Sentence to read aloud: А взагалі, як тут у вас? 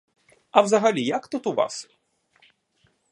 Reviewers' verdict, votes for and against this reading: accepted, 2, 0